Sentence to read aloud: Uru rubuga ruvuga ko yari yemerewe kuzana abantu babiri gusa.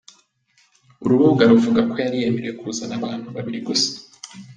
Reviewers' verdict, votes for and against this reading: accepted, 2, 0